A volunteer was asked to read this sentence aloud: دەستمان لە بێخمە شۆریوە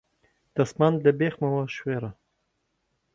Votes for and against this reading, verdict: 1, 2, rejected